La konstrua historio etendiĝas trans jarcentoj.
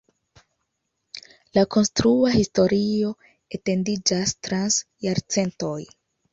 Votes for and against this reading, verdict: 2, 0, accepted